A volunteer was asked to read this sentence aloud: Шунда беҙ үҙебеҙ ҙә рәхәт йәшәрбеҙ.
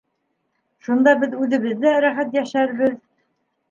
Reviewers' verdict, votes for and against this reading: accepted, 2, 0